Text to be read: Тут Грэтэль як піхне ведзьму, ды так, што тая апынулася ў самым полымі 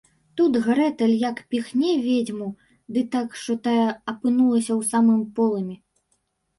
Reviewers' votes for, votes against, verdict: 1, 2, rejected